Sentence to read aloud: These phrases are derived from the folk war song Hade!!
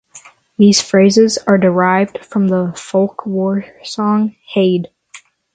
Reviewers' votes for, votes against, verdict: 6, 0, accepted